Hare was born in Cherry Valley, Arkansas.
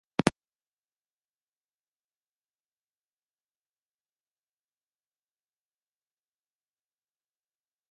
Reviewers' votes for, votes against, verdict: 0, 2, rejected